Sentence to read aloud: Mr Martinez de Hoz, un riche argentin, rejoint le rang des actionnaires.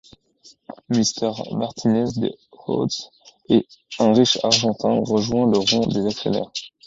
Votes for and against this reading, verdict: 0, 2, rejected